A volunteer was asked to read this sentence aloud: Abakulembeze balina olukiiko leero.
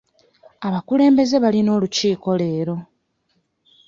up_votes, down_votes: 2, 0